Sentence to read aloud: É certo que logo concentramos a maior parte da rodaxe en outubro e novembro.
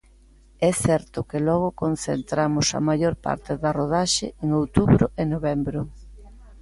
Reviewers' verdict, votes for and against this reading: accepted, 2, 0